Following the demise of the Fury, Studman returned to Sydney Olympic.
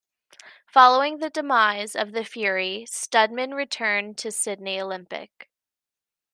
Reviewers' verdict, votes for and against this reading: accepted, 2, 0